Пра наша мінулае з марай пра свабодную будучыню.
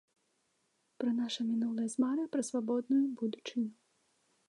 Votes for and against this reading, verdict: 2, 0, accepted